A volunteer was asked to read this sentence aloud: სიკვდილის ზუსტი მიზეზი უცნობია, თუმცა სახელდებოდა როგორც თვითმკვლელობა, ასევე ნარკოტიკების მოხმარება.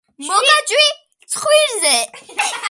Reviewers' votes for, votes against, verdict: 1, 2, rejected